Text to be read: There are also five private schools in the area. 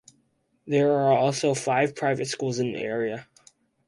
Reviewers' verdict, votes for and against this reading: rejected, 2, 2